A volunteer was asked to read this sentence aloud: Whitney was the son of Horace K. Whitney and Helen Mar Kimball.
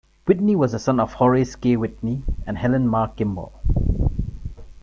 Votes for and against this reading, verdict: 2, 1, accepted